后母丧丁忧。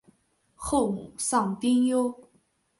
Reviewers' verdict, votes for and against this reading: accepted, 2, 0